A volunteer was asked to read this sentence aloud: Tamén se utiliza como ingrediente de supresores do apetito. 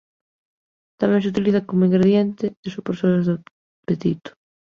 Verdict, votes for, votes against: rejected, 0, 2